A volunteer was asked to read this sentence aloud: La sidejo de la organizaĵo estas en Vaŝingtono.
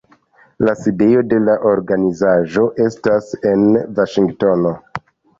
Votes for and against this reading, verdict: 2, 0, accepted